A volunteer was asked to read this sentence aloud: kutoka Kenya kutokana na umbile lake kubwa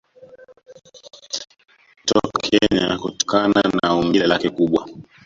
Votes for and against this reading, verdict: 1, 2, rejected